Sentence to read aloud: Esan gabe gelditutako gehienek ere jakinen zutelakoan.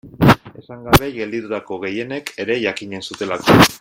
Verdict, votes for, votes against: rejected, 0, 2